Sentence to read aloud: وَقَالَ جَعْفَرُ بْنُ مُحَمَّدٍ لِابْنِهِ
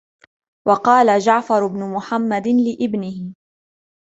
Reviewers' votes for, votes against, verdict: 2, 0, accepted